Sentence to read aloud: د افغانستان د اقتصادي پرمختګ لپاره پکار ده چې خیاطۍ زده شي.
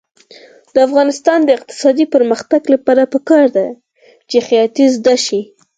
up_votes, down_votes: 4, 2